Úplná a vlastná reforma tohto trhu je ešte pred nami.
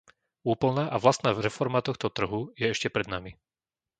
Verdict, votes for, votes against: rejected, 0, 2